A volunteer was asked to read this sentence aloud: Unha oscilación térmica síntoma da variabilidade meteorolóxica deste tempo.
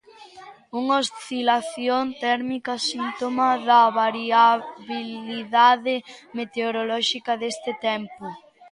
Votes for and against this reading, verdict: 1, 2, rejected